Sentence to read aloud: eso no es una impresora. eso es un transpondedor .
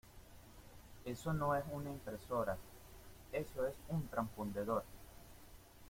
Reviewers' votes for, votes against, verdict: 1, 2, rejected